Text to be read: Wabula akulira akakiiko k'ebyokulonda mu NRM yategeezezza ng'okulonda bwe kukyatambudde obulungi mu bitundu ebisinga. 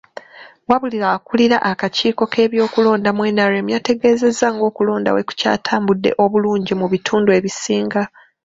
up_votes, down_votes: 1, 2